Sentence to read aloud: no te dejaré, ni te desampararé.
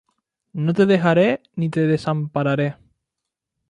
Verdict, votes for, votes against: rejected, 0, 2